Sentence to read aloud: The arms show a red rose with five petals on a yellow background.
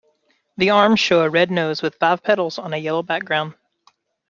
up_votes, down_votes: 0, 2